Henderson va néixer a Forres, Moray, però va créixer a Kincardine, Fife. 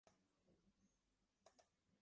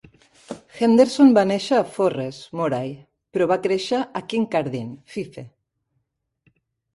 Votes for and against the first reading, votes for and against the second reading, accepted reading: 0, 2, 2, 0, second